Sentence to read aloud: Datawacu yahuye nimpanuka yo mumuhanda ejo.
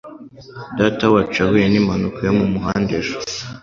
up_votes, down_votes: 2, 0